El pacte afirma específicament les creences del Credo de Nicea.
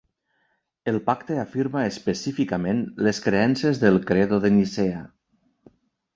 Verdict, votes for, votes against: accepted, 2, 1